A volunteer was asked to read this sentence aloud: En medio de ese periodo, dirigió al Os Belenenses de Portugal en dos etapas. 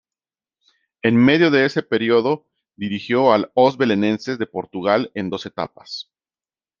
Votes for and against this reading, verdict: 2, 0, accepted